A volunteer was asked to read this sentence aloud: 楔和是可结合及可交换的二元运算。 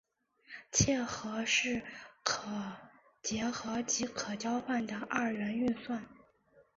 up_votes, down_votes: 3, 4